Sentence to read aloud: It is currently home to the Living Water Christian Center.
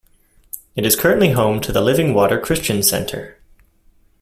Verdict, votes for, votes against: accepted, 2, 0